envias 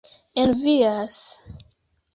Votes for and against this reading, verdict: 2, 1, accepted